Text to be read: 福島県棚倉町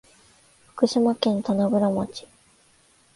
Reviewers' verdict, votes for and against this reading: accepted, 3, 0